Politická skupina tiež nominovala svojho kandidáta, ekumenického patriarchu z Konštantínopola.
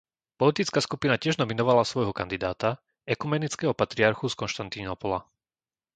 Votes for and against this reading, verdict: 2, 0, accepted